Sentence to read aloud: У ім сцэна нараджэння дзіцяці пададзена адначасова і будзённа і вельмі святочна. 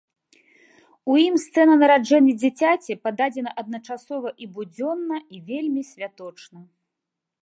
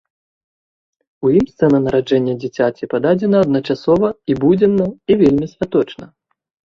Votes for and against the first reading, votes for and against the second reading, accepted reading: 2, 0, 1, 2, first